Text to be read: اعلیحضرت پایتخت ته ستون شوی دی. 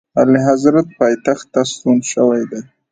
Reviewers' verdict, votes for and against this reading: accepted, 2, 1